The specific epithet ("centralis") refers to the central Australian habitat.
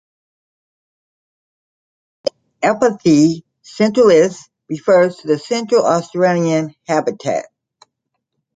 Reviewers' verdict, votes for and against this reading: rejected, 0, 2